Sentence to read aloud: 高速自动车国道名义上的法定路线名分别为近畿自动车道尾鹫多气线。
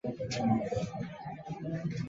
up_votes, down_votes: 1, 3